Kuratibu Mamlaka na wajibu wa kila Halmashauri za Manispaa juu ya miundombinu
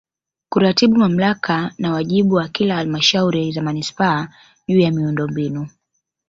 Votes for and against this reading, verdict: 3, 0, accepted